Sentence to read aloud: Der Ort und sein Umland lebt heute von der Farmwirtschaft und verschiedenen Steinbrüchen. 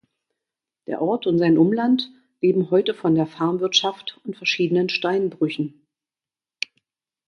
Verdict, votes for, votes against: rejected, 0, 2